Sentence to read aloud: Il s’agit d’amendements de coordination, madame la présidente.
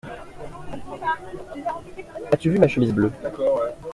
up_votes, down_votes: 0, 2